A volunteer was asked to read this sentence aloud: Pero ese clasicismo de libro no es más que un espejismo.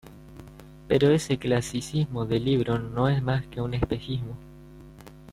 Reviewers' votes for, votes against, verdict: 2, 0, accepted